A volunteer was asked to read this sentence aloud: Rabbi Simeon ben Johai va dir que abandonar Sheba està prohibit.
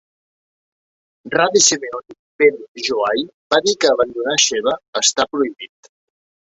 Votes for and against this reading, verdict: 0, 3, rejected